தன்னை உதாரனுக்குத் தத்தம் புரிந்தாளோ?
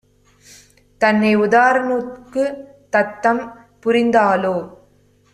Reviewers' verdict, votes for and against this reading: rejected, 1, 2